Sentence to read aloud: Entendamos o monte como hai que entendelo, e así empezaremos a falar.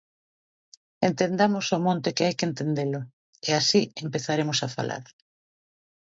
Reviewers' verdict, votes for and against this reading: rejected, 0, 2